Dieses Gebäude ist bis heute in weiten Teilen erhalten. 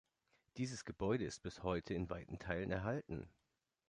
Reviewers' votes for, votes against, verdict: 3, 0, accepted